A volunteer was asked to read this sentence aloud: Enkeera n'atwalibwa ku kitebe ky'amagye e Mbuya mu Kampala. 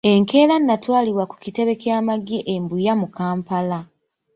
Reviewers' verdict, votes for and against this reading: accepted, 3, 1